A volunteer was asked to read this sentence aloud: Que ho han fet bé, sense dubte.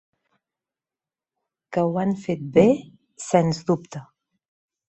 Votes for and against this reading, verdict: 1, 2, rejected